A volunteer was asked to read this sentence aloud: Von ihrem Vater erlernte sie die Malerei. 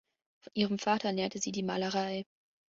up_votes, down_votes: 2, 1